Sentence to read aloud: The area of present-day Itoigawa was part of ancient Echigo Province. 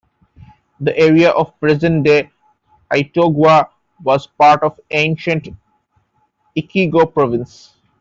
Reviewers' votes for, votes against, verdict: 1, 2, rejected